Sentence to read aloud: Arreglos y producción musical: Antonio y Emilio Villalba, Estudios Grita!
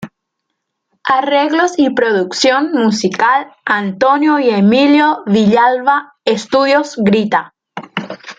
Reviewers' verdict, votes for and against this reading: accepted, 2, 0